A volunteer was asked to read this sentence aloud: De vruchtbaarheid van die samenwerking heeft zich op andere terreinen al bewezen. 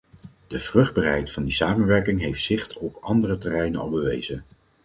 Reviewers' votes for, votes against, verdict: 0, 4, rejected